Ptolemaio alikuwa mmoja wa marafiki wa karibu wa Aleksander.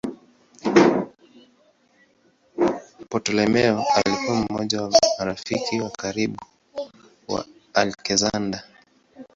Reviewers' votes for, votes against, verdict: 1, 2, rejected